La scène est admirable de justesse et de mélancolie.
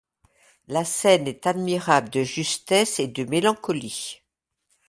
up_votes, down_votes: 2, 0